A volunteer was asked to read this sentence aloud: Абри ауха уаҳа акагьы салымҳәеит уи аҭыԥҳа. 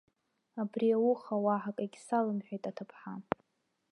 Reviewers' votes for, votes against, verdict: 1, 2, rejected